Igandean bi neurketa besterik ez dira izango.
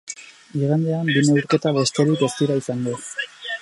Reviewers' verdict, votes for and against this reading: rejected, 2, 8